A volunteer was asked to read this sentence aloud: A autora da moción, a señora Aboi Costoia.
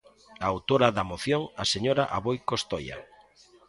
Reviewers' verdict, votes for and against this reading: rejected, 1, 2